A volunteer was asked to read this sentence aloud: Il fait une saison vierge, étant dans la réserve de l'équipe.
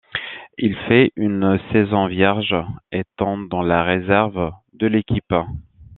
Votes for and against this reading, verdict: 1, 2, rejected